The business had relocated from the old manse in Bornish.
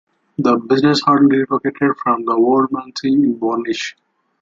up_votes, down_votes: 2, 0